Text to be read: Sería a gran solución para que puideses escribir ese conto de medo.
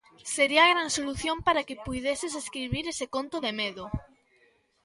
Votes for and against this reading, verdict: 2, 0, accepted